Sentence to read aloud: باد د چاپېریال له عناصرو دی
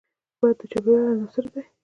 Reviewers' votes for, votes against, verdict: 1, 2, rejected